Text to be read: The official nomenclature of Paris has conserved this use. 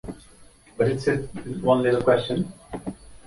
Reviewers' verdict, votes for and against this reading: rejected, 0, 2